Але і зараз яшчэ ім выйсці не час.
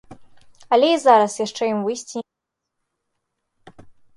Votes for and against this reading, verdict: 0, 2, rejected